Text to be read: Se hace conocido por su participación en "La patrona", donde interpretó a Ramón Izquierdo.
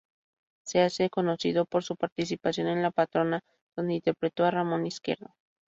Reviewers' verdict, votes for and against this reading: accepted, 2, 0